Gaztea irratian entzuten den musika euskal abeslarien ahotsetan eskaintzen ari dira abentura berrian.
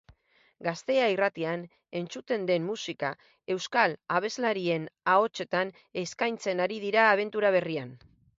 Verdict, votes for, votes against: accepted, 8, 2